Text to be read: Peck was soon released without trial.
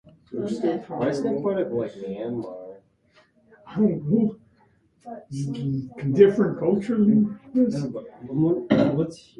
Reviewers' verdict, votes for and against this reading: rejected, 0, 2